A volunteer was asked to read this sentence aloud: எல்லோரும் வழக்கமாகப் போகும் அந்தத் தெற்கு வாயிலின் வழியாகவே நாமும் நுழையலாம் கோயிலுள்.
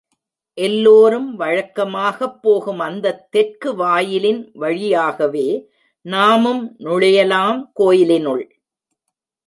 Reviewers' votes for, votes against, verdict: 0, 2, rejected